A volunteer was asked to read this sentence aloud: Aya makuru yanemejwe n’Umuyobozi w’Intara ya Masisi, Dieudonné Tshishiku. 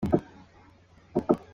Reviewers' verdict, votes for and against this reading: rejected, 0, 2